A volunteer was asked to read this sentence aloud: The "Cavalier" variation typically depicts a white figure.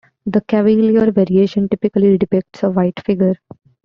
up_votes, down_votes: 0, 2